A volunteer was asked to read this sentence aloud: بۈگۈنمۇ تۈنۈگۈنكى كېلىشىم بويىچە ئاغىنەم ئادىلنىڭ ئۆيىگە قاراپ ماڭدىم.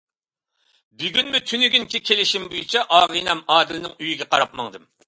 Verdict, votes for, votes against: accepted, 2, 0